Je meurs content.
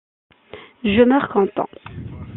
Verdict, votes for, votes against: accepted, 2, 0